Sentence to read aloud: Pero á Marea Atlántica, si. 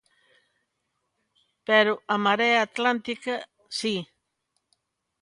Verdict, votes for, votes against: accepted, 2, 0